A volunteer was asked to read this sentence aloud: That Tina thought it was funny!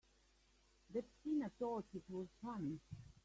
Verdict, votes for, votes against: accepted, 2, 1